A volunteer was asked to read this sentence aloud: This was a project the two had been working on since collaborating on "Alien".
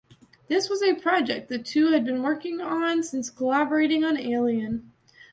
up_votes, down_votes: 2, 0